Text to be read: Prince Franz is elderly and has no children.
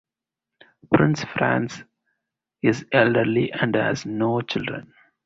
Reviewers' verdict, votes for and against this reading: accepted, 2, 0